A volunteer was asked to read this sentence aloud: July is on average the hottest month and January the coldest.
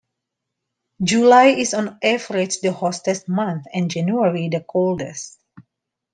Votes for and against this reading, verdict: 3, 1, accepted